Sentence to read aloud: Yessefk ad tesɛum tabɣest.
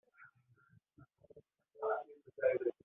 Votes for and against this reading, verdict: 0, 2, rejected